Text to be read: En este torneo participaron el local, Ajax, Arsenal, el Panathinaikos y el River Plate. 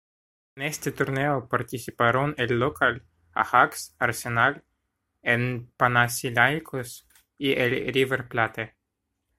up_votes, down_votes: 1, 2